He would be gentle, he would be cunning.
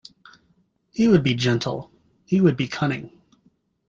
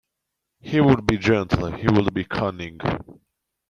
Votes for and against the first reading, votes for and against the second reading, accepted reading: 2, 0, 1, 2, first